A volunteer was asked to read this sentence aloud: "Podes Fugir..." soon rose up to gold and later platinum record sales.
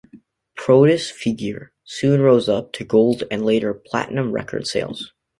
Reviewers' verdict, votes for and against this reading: rejected, 1, 3